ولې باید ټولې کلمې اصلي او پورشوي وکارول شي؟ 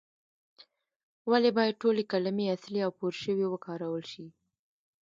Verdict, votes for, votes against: rejected, 0, 2